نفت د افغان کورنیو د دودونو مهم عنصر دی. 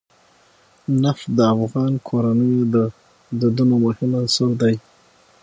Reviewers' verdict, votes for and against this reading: accepted, 6, 3